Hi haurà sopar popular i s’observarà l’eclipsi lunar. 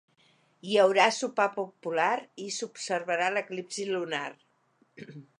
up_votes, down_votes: 4, 0